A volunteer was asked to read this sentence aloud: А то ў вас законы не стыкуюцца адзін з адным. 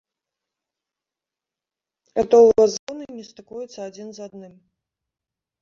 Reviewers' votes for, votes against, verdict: 1, 2, rejected